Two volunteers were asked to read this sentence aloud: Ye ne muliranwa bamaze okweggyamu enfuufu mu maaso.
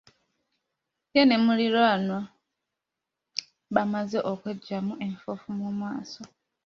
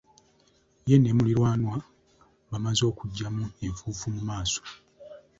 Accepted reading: first